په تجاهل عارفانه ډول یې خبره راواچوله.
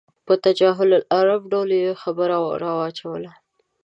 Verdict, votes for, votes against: rejected, 0, 2